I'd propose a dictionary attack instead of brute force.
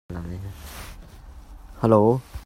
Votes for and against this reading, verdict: 0, 2, rejected